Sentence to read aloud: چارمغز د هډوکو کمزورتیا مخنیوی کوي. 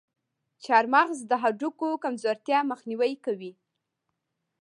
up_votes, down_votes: 2, 0